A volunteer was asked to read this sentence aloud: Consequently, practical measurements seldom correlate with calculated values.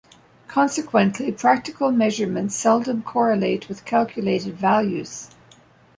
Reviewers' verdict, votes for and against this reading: accepted, 2, 0